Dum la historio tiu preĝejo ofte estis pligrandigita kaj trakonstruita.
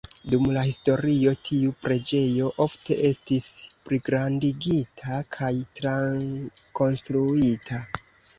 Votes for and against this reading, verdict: 0, 2, rejected